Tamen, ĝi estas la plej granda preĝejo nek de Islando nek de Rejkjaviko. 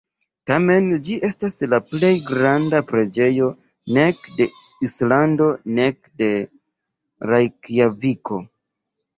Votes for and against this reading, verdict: 2, 0, accepted